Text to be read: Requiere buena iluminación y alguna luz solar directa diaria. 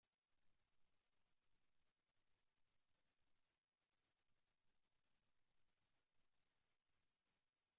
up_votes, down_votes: 0, 2